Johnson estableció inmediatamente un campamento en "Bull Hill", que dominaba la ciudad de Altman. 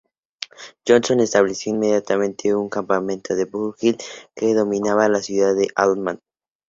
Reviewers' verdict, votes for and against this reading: rejected, 0, 4